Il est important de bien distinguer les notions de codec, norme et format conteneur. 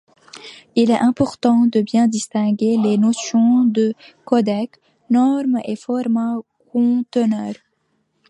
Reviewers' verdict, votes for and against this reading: accepted, 2, 0